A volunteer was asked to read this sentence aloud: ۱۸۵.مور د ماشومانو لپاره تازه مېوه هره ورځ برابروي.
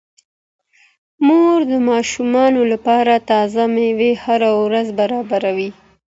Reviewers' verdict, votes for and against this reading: rejected, 0, 2